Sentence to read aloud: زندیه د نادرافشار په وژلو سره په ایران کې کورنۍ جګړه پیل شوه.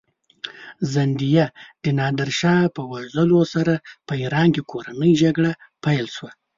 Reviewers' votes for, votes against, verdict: 1, 2, rejected